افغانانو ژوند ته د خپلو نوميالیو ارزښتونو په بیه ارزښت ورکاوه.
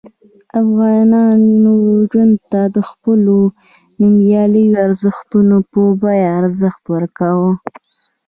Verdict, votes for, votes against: rejected, 1, 2